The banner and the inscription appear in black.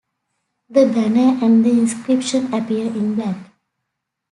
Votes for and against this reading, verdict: 0, 2, rejected